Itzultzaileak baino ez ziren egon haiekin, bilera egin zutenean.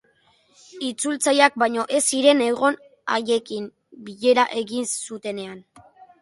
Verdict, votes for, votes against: accepted, 3, 0